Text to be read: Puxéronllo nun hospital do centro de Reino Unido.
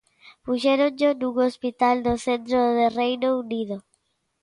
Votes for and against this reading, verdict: 2, 0, accepted